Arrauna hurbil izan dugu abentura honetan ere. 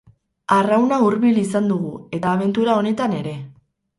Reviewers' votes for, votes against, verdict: 2, 4, rejected